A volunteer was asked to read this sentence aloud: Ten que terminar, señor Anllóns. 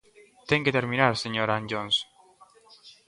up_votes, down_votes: 0, 2